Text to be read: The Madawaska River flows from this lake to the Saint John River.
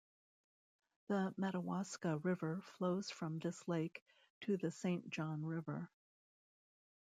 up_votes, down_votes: 1, 2